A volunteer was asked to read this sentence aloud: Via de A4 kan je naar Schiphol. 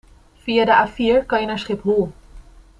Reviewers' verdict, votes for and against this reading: rejected, 0, 2